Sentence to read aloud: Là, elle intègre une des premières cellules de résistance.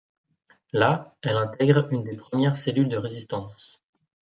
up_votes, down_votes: 2, 0